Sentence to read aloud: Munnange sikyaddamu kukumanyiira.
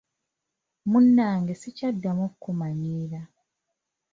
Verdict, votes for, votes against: accepted, 3, 0